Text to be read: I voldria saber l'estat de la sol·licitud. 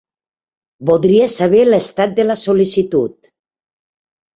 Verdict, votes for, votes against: rejected, 0, 2